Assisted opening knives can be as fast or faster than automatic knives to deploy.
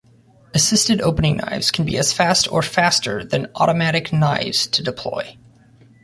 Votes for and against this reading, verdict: 2, 0, accepted